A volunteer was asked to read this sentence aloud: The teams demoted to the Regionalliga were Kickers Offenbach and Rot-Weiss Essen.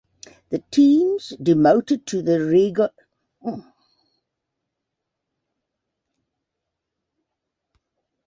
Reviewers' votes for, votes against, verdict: 0, 2, rejected